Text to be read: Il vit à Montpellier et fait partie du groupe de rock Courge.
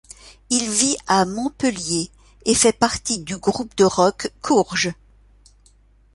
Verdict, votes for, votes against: accepted, 2, 0